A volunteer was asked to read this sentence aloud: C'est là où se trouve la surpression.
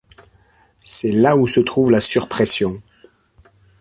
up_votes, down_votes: 2, 0